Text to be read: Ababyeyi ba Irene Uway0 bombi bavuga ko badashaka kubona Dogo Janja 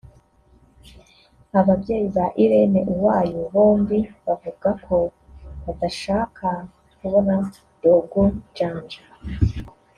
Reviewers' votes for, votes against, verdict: 0, 2, rejected